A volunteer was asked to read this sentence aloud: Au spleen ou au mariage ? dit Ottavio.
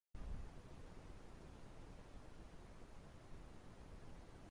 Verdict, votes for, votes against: rejected, 0, 2